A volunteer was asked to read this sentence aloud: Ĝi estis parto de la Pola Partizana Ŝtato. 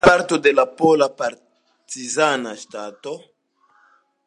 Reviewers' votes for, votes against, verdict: 2, 0, accepted